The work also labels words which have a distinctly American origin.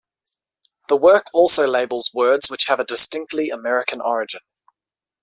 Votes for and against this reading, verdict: 2, 0, accepted